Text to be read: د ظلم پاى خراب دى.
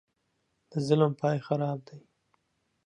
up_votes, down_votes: 2, 0